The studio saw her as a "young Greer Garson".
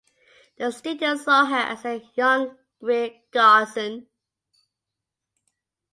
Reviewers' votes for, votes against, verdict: 2, 0, accepted